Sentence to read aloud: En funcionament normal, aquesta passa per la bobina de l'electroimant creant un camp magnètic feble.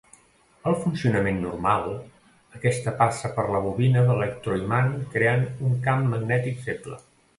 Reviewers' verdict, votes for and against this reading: rejected, 1, 2